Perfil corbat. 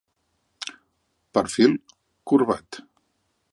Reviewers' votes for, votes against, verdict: 2, 0, accepted